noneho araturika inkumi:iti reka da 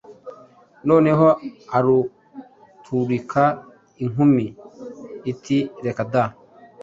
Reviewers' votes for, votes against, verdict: 2, 0, accepted